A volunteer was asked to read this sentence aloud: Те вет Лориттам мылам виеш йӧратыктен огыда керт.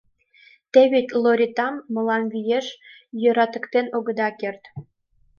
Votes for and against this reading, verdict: 2, 0, accepted